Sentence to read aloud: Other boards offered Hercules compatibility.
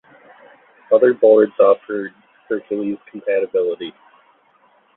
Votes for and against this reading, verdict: 2, 0, accepted